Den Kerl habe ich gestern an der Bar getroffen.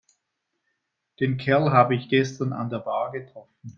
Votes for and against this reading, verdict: 2, 0, accepted